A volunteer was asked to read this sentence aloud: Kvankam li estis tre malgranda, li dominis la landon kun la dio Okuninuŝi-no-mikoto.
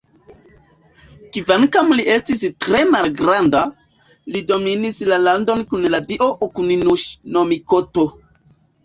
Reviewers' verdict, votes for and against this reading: accepted, 2, 0